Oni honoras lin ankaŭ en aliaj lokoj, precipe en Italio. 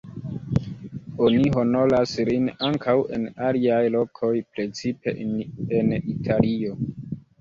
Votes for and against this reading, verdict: 2, 1, accepted